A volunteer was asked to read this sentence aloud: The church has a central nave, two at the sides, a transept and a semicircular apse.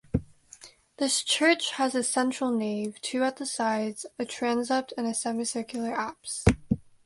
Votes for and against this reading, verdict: 1, 2, rejected